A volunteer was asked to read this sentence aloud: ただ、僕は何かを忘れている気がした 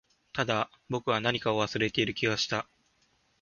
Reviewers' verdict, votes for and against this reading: accepted, 26, 2